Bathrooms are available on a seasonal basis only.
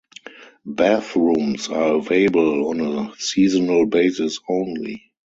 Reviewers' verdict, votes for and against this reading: rejected, 2, 4